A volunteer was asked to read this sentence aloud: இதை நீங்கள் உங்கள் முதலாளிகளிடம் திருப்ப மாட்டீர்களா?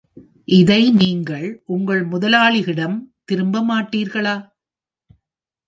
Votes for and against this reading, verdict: 0, 2, rejected